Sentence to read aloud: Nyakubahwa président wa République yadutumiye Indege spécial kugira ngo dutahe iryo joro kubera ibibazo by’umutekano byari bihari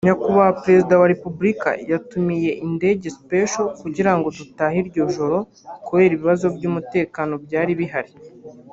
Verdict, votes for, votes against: accepted, 2, 0